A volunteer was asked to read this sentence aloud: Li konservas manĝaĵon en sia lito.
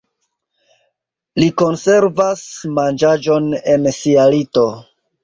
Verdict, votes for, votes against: accepted, 3, 0